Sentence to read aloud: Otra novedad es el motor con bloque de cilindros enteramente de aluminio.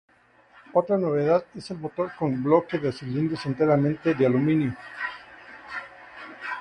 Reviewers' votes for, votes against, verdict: 2, 0, accepted